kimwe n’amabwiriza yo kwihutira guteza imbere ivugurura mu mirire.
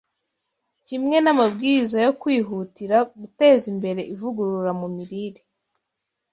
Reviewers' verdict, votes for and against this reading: accepted, 2, 0